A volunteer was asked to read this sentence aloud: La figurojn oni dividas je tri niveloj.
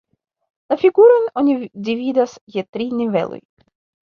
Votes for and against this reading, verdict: 0, 2, rejected